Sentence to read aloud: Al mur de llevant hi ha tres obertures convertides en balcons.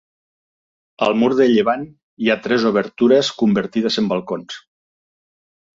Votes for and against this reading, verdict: 2, 0, accepted